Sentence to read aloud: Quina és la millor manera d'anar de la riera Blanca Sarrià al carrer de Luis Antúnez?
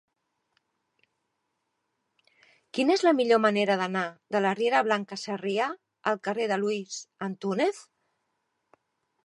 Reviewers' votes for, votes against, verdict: 2, 0, accepted